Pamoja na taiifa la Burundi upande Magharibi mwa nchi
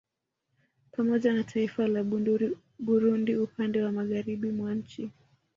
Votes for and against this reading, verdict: 3, 0, accepted